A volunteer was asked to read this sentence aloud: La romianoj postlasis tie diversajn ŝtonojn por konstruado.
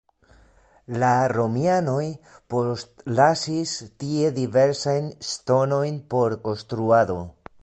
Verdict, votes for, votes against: rejected, 0, 2